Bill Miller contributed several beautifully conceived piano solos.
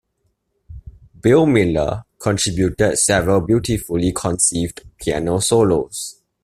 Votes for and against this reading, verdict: 2, 0, accepted